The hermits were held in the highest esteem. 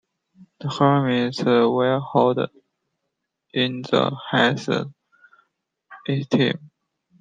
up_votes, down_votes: 2, 1